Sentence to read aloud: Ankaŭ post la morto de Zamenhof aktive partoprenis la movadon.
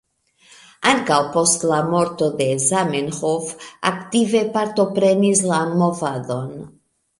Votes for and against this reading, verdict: 1, 2, rejected